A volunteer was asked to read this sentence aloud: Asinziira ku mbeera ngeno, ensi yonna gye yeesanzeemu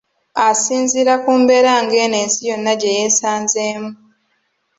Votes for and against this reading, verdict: 2, 1, accepted